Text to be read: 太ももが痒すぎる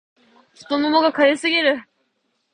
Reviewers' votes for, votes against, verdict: 2, 0, accepted